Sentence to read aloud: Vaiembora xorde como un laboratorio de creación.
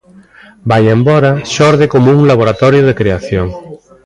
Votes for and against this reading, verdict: 1, 2, rejected